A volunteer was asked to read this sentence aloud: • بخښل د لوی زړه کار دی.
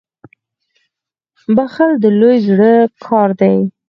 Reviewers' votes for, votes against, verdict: 2, 4, rejected